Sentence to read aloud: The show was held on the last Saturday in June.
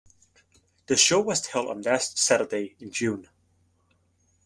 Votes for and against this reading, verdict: 0, 2, rejected